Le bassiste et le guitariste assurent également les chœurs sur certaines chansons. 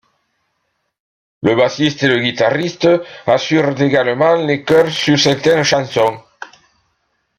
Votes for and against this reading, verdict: 2, 0, accepted